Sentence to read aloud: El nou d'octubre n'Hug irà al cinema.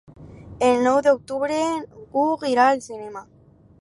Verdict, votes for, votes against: rejected, 0, 4